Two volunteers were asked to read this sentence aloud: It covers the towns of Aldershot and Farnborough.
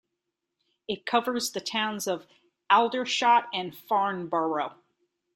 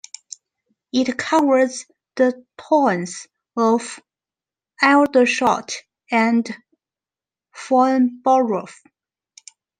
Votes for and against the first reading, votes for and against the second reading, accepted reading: 2, 0, 0, 2, first